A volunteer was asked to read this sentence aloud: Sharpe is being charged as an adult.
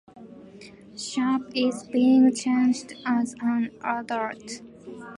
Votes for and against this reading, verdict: 2, 0, accepted